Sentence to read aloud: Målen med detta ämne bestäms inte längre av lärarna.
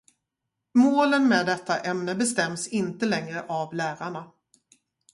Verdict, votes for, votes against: rejected, 0, 2